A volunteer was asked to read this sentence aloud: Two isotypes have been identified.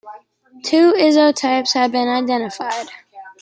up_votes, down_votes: 0, 2